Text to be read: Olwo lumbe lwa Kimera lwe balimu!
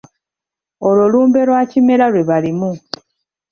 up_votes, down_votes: 0, 2